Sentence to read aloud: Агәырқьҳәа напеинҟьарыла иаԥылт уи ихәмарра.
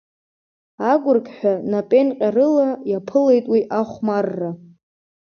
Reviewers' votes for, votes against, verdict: 1, 2, rejected